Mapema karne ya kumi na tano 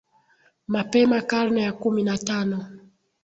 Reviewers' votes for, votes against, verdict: 2, 0, accepted